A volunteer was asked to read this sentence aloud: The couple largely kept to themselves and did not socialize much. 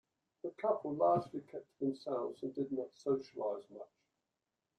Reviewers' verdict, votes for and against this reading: rejected, 0, 2